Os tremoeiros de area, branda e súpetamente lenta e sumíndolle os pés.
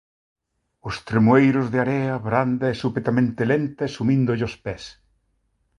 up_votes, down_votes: 2, 0